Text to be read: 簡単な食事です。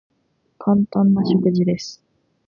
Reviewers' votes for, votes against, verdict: 2, 1, accepted